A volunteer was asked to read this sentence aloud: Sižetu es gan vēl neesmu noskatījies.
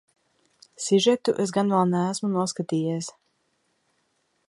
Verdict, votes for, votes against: accepted, 4, 0